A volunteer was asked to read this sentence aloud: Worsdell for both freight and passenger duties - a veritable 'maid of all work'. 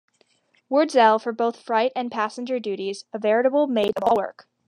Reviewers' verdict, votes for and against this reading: rejected, 0, 2